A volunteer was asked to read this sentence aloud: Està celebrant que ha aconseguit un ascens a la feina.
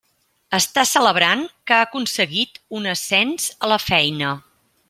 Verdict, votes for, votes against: accepted, 3, 0